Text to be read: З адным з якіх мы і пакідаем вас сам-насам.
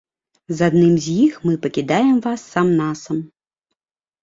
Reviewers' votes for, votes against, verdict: 0, 2, rejected